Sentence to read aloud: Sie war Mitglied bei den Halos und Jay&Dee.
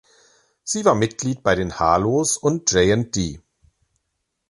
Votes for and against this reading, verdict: 2, 3, rejected